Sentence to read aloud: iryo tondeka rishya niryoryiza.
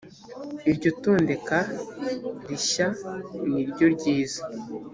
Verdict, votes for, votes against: accepted, 2, 0